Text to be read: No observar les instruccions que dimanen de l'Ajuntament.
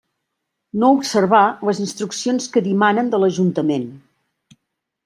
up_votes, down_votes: 2, 0